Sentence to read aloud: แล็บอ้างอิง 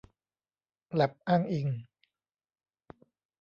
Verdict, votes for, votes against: rejected, 0, 2